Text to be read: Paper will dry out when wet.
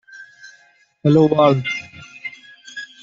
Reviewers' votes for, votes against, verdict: 0, 2, rejected